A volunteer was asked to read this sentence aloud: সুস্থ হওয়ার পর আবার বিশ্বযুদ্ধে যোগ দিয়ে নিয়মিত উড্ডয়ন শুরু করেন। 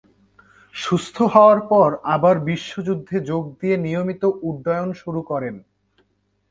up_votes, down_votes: 3, 0